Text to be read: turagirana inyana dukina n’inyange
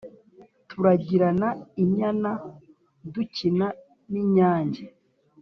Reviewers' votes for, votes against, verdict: 2, 0, accepted